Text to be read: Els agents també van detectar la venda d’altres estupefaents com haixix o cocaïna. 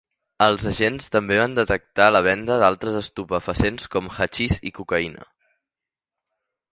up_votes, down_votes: 0, 2